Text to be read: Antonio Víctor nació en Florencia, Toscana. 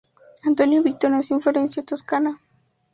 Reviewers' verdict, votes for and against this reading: rejected, 0, 2